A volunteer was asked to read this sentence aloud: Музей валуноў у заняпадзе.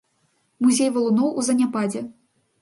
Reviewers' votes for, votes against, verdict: 3, 0, accepted